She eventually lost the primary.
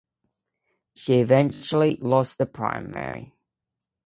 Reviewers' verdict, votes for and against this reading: accepted, 2, 0